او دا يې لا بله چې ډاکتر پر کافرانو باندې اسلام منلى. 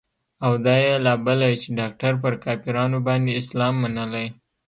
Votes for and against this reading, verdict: 2, 0, accepted